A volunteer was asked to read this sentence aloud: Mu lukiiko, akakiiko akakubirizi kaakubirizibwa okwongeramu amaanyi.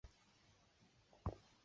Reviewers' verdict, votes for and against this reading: rejected, 0, 2